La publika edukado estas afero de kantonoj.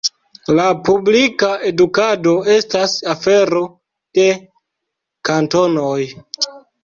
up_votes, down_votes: 2, 0